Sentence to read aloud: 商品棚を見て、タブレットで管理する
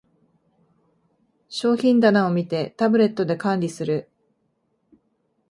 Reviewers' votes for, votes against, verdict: 3, 0, accepted